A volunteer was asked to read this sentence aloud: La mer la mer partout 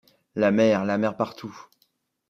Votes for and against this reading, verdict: 2, 0, accepted